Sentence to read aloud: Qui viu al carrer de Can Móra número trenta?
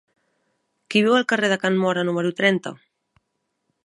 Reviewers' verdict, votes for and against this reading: accepted, 3, 0